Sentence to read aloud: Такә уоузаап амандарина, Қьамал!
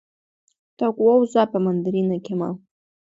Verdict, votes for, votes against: accepted, 2, 0